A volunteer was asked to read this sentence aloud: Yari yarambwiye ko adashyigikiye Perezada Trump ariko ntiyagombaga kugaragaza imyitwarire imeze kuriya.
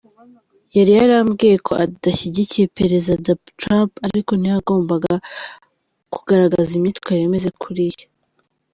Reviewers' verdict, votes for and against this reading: rejected, 0, 3